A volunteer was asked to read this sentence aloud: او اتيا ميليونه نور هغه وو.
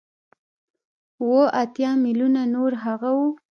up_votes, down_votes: 1, 2